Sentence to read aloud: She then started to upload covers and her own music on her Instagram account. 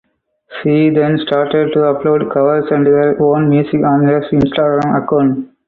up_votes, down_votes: 4, 0